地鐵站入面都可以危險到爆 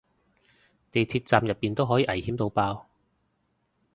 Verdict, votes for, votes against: rejected, 0, 2